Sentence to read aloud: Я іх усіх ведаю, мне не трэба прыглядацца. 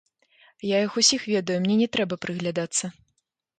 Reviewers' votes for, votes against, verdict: 2, 0, accepted